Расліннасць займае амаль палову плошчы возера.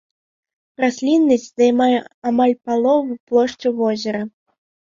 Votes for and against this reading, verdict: 2, 0, accepted